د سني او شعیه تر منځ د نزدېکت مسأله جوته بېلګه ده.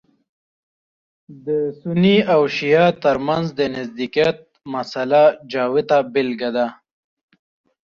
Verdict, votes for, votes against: accepted, 2, 1